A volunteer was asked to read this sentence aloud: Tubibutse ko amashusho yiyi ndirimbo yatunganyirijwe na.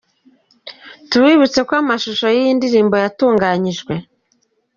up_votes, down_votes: 1, 2